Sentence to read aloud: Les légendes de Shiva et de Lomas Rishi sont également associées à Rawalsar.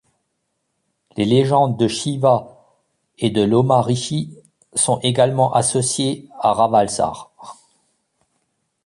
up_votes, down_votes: 2, 0